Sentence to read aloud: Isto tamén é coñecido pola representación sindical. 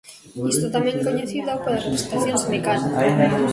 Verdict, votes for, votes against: rejected, 1, 2